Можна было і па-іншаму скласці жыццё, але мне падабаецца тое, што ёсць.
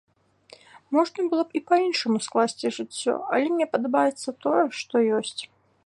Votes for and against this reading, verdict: 0, 2, rejected